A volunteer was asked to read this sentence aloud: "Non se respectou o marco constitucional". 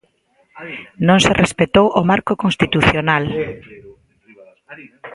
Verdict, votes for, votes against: rejected, 1, 2